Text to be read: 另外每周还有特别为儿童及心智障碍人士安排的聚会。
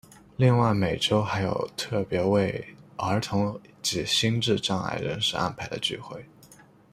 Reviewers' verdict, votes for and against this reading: accepted, 2, 0